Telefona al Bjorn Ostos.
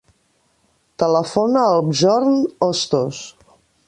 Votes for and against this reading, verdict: 1, 2, rejected